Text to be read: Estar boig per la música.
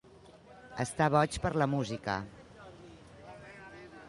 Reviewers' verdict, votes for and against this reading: accepted, 2, 1